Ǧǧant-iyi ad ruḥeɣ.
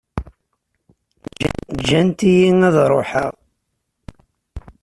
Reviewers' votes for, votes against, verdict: 1, 2, rejected